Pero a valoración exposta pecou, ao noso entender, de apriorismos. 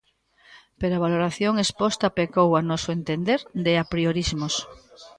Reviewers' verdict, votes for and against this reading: accepted, 2, 0